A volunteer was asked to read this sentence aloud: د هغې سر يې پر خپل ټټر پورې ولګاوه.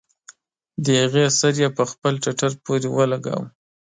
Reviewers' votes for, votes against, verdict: 2, 0, accepted